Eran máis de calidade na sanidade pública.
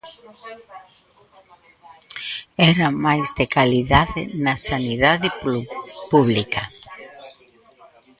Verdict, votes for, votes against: rejected, 1, 2